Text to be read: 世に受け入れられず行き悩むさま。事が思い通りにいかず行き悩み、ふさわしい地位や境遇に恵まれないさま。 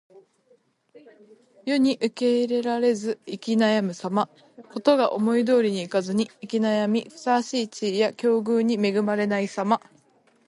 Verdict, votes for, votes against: accepted, 2, 1